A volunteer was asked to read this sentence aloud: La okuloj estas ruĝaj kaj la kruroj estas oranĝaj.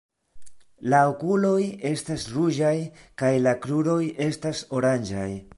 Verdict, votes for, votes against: accepted, 2, 0